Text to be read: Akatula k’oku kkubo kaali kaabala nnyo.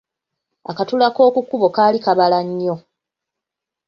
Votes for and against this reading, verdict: 2, 1, accepted